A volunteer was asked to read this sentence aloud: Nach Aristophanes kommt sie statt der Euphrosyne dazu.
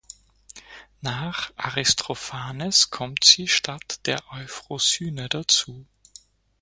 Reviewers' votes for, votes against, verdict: 0, 4, rejected